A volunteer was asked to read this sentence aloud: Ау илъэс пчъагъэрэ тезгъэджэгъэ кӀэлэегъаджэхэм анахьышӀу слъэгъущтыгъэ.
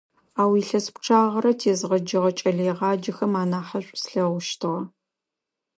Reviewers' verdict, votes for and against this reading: accepted, 2, 0